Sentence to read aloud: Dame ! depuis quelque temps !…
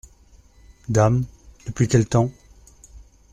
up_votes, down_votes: 0, 2